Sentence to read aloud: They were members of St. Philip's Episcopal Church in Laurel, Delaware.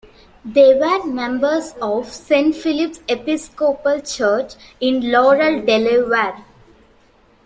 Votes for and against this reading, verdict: 1, 2, rejected